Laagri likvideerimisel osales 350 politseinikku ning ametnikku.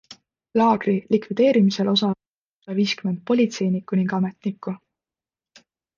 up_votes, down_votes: 0, 2